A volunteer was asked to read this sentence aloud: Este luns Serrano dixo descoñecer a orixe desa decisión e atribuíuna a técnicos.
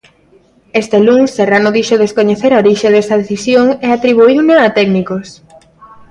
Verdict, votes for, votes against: accepted, 2, 0